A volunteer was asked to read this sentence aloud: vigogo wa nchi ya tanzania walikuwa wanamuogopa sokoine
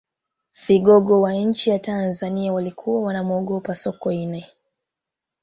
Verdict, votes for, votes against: accepted, 4, 1